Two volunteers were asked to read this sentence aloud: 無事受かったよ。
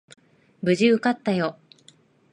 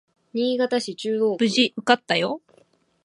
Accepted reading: first